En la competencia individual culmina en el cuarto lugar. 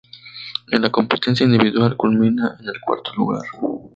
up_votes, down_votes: 0, 2